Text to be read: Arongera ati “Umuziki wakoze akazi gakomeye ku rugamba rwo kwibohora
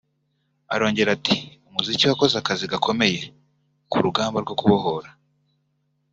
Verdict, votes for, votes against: rejected, 1, 2